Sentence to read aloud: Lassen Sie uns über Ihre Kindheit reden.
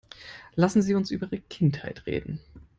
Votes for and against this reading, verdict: 4, 0, accepted